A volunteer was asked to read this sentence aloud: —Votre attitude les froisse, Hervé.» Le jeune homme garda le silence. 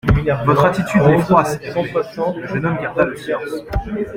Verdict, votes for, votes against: rejected, 1, 2